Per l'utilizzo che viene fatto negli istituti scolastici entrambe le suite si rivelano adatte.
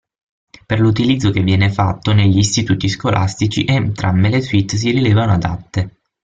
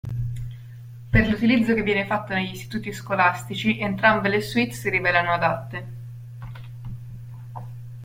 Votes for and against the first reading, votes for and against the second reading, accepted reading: 3, 6, 2, 0, second